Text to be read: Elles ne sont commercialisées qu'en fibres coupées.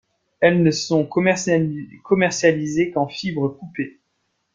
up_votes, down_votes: 1, 2